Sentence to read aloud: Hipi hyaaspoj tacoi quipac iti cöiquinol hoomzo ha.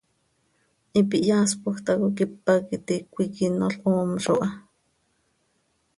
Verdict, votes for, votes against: accepted, 2, 0